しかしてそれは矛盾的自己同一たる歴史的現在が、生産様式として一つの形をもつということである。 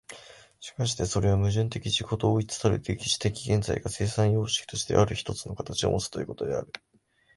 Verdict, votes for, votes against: rejected, 1, 2